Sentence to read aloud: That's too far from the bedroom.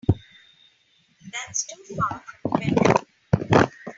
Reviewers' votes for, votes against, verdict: 2, 4, rejected